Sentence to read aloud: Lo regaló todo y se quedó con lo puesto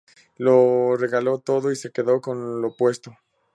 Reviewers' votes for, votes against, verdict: 4, 0, accepted